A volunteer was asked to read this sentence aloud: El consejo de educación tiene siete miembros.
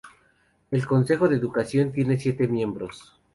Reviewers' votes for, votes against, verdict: 2, 0, accepted